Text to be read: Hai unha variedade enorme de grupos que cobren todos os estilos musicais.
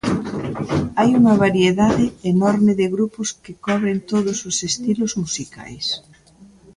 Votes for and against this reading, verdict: 2, 1, accepted